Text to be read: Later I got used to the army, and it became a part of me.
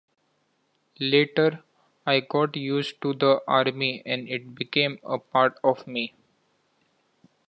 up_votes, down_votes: 2, 0